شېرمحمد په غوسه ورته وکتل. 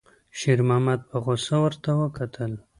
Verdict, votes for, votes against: accepted, 2, 0